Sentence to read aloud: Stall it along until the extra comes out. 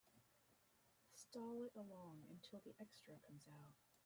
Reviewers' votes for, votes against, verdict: 2, 0, accepted